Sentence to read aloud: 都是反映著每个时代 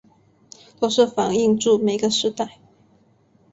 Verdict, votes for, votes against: accepted, 5, 0